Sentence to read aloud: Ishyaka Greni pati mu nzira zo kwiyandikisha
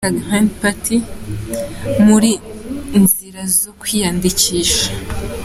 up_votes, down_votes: 0, 3